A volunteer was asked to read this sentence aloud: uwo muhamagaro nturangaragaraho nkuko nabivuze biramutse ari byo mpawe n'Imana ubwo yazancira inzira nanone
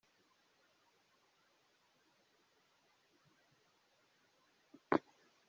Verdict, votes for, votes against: rejected, 0, 2